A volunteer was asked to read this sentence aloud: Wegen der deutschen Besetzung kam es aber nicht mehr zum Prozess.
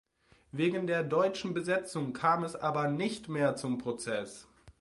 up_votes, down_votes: 2, 0